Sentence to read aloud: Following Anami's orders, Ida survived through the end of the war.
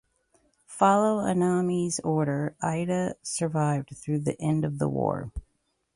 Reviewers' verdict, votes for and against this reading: accepted, 2, 1